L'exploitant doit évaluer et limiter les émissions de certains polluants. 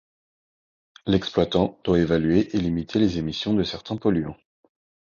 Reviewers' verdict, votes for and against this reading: accepted, 2, 0